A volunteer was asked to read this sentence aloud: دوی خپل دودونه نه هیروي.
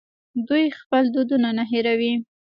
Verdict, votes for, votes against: rejected, 1, 2